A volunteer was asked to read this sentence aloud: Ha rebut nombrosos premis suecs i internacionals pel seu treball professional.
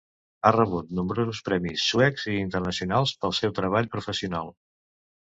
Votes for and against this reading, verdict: 2, 0, accepted